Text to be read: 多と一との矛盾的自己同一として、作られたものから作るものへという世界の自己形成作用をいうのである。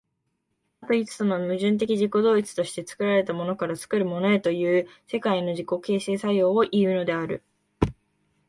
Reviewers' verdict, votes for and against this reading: accepted, 2, 0